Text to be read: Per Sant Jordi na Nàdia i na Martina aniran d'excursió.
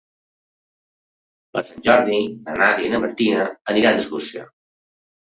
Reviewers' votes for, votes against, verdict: 2, 0, accepted